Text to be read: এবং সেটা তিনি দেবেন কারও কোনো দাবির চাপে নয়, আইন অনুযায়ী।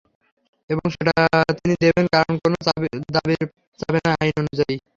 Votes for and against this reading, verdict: 0, 3, rejected